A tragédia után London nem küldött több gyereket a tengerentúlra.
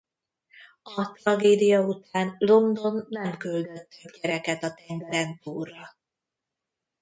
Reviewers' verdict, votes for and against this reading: rejected, 0, 2